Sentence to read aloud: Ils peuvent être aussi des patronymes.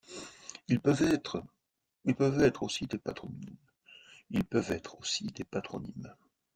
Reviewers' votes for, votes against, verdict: 0, 2, rejected